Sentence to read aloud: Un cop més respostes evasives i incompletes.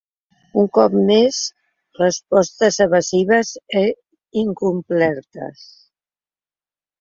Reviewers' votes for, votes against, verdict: 0, 2, rejected